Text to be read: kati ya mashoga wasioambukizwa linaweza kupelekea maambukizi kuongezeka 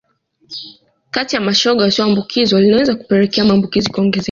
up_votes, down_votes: 1, 2